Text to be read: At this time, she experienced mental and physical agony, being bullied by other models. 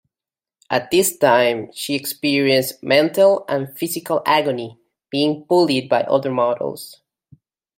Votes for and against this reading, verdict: 2, 0, accepted